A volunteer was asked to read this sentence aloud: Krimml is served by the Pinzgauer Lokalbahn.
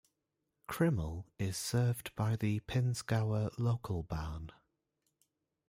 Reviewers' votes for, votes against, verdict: 0, 2, rejected